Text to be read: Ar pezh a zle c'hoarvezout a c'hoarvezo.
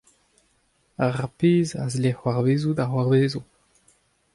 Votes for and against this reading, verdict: 2, 0, accepted